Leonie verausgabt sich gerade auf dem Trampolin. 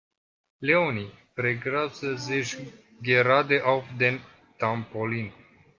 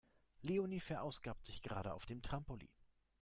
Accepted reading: second